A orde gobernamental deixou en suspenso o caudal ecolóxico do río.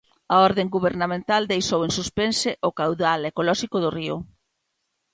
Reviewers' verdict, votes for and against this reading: rejected, 1, 2